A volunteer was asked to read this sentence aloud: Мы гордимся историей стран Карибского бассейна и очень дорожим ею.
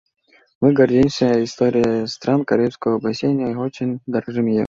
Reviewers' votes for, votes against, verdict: 1, 2, rejected